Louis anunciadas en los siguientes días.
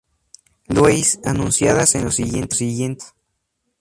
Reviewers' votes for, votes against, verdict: 2, 0, accepted